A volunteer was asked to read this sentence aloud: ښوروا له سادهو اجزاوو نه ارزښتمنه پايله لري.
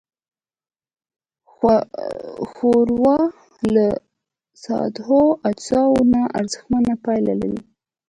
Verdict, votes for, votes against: accepted, 2, 0